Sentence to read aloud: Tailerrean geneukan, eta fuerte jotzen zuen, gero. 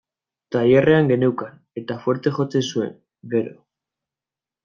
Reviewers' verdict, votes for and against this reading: accepted, 2, 0